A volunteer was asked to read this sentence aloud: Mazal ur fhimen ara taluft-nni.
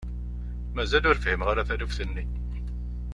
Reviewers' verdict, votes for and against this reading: rejected, 0, 2